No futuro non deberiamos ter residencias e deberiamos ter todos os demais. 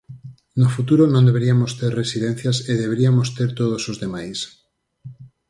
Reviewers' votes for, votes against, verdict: 2, 4, rejected